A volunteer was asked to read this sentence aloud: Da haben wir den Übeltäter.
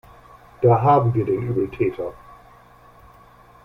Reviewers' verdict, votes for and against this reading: accepted, 2, 1